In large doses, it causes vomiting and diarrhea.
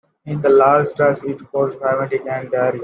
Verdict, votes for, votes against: rejected, 1, 2